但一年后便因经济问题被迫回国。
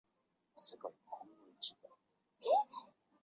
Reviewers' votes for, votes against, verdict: 0, 3, rejected